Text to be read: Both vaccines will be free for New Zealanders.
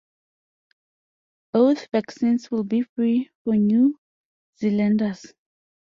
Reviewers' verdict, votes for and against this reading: accepted, 2, 0